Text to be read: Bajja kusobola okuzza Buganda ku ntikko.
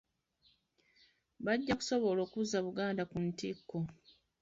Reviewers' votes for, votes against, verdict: 2, 1, accepted